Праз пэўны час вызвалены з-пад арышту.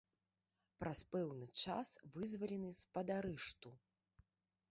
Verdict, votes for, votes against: rejected, 1, 2